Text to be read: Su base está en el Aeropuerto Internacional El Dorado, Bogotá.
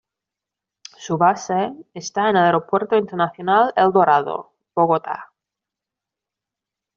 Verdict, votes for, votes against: accepted, 3, 2